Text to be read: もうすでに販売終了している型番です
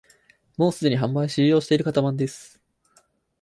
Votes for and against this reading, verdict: 0, 4, rejected